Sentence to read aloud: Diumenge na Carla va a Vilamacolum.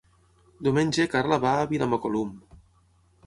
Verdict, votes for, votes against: rejected, 0, 6